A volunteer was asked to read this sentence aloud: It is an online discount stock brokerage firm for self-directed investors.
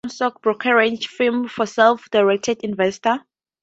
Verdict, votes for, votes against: rejected, 0, 2